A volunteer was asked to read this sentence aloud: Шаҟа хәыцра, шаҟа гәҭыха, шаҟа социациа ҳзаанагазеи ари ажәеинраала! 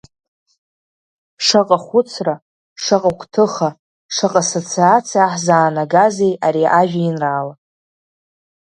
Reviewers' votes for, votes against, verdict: 2, 0, accepted